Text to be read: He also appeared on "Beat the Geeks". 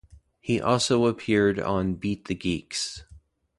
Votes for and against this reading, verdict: 2, 0, accepted